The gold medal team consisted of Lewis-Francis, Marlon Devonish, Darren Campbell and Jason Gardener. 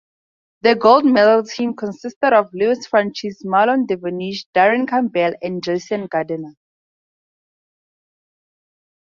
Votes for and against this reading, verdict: 2, 0, accepted